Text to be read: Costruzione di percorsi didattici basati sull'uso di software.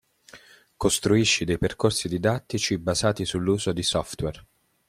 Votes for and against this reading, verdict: 0, 2, rejected